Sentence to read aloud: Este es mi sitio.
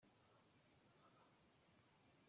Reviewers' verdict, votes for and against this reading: rejected, 0, 2